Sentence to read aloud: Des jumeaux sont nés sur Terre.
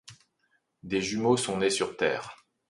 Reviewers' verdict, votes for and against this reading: accepted, 2, 0